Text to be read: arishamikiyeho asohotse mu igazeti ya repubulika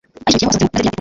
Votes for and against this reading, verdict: 1, 2, rejected